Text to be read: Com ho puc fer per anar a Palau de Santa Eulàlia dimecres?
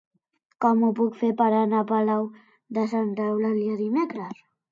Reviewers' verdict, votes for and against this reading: accepted, 2, 0